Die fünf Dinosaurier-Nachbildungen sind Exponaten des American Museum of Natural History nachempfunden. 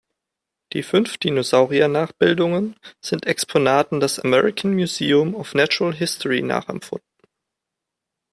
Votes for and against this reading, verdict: 2, 0, accepted